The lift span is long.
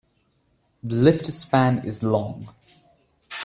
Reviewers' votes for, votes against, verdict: 2, 0, accepted